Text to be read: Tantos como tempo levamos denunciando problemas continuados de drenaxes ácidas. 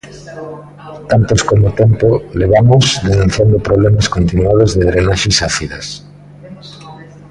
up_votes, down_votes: 1, 2